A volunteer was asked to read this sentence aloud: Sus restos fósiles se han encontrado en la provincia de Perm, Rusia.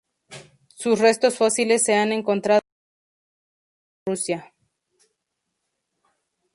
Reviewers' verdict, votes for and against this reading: rejected, 0, 4